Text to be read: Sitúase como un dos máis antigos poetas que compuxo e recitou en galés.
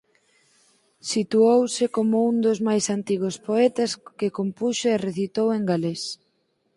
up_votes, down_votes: 2, 4